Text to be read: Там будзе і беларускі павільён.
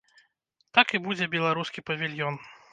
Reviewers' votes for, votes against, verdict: 0, 2, rejected